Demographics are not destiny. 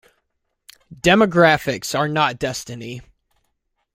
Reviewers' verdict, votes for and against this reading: accepted, 2, 0